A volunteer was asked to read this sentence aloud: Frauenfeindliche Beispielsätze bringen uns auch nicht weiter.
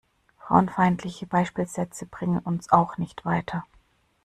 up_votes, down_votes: 2, 0